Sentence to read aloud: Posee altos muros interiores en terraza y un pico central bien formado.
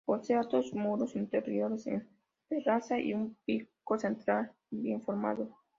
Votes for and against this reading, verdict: 0, 2, rejected